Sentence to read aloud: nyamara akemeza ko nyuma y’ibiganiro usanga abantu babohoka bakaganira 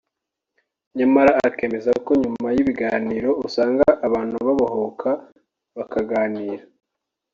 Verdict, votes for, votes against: accepted, 2, 0